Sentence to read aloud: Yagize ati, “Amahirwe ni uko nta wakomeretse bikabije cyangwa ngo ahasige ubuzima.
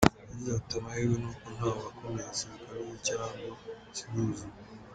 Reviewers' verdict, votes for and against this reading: rejected, 1, 5